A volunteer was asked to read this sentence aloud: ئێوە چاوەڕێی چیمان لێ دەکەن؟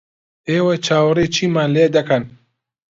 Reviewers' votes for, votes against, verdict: 2, 0, accepted